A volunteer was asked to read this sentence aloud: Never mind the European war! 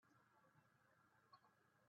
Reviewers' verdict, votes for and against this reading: rejected, 0, 3